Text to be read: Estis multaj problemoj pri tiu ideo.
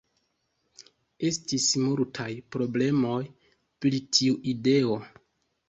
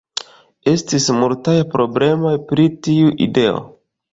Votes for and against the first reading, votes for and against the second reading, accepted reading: 2, 0, 1, 2, first